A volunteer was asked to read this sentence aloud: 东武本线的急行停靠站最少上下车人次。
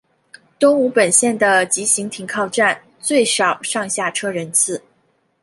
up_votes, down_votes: 3, 0